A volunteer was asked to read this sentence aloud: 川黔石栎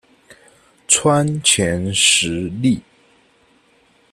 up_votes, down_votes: 1, 2